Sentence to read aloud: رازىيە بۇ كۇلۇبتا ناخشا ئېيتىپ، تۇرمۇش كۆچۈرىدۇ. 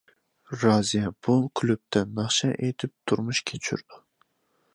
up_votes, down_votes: 1, 2